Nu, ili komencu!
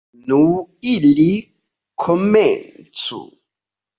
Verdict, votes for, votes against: accepted, 2, 1